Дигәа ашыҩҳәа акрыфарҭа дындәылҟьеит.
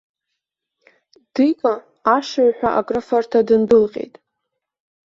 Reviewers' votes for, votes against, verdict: 1, 2, rejected